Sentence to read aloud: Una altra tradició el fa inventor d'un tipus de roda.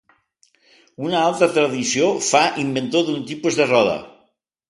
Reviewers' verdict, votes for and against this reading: rejected, 1, 2